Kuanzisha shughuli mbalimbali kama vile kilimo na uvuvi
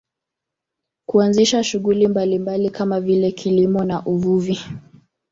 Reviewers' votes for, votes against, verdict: 2, 0, accepted